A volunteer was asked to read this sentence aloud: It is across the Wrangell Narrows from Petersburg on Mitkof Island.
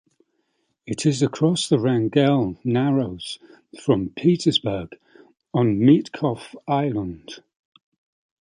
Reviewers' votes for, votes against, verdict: 2, 0, accepted